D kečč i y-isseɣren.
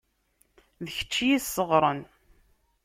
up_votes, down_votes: 2, 0